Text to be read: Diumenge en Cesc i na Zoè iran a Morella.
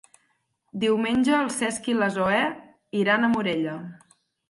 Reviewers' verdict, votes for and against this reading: accepted, 6, 0